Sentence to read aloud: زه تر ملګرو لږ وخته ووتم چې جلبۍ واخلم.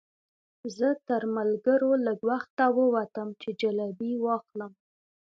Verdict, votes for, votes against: accepted, 2, 1